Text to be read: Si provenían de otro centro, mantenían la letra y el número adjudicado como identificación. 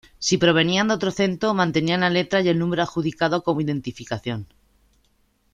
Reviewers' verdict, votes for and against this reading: accepted, 2, 0